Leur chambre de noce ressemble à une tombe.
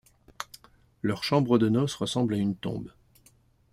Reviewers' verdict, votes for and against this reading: accepted, 2, 0